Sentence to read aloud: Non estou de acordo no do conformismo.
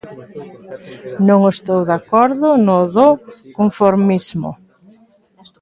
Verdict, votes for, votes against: accepted, 2, 0